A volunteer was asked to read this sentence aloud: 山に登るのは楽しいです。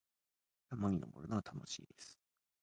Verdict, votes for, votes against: accepted, 2, 1